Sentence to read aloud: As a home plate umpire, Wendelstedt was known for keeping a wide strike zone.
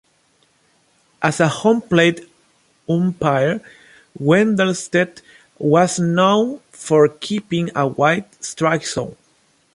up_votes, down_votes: 2, 1